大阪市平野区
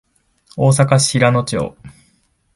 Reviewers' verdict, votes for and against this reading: rejected, 0, 2